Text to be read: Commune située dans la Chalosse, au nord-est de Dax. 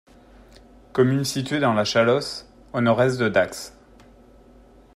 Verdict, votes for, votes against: accepted, 2, 0